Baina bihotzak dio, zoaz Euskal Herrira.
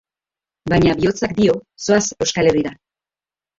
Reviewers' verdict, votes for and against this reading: rejected, 1, 2